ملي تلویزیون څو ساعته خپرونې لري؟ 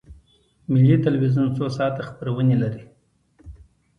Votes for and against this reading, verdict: 3, 0, accepted